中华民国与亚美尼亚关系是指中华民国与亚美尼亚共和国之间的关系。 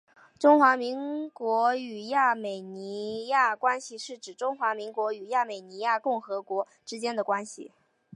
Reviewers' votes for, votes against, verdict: 4, 0, accepted